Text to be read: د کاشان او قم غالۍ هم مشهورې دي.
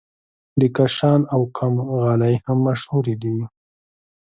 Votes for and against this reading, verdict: 1, 2, rejected